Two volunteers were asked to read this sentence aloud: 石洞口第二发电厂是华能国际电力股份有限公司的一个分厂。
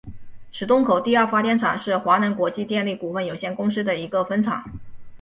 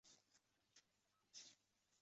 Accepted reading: first